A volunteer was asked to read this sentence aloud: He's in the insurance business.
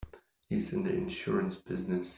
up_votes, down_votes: 2, 0